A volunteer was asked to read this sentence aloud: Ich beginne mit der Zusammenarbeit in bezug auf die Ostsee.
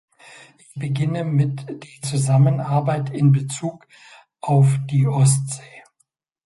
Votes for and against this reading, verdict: 0, 2, rejected